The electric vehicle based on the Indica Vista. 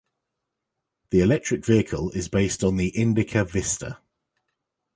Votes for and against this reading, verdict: 0, 2, rejected